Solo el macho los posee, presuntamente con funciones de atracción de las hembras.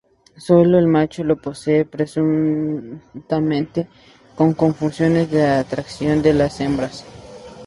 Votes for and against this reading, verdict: 2, 0, accepted